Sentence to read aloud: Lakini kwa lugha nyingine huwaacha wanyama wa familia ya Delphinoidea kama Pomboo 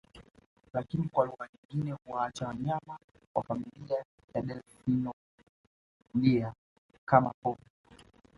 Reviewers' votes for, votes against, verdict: 0, 2, rejected